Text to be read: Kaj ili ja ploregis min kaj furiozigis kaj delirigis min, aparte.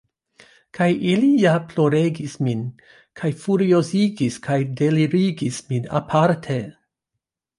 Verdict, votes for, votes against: accepted, 2, 0